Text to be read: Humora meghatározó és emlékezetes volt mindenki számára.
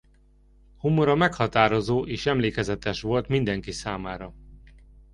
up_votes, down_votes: 2, 0